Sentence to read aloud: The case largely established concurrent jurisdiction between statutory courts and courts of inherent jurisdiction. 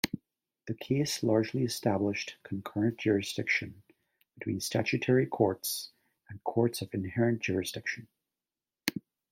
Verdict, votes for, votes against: accepted, 2, 0